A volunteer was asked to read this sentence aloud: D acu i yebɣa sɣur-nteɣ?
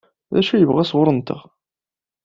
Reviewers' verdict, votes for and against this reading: accepted, 2, 0